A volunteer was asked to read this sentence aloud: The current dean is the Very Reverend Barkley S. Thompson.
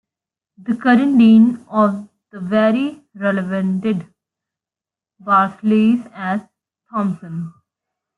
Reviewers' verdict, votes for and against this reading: rejected, 0, 2